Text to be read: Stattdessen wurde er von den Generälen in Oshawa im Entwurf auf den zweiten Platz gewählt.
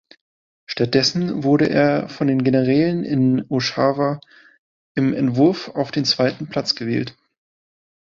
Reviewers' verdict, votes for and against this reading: accepted, 2, 0